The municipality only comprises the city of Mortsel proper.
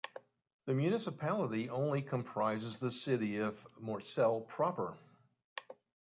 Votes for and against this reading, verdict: 2, 0, accepted